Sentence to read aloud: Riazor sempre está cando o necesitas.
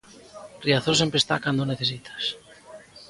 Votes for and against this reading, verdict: 2, 0, accepted